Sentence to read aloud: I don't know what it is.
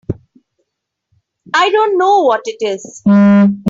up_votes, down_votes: 2, 1